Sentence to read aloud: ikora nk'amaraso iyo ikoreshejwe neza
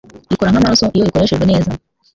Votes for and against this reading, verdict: 0, 2, rejected